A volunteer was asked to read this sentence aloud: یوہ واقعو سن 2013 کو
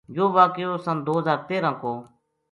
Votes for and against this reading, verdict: 0, 2, rejected